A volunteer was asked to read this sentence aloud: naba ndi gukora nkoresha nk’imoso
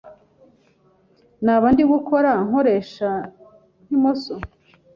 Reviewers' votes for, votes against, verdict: 2, 0, accepted